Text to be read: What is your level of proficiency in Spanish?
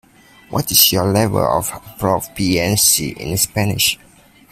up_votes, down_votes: 1, 2